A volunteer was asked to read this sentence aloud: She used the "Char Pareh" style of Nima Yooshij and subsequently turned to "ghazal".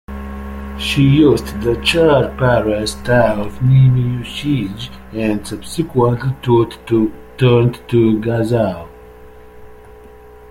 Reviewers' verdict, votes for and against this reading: rejected, 0, 2